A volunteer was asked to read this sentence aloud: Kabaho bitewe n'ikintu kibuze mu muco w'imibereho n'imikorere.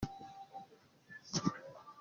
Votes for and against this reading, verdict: 0, 2, rejected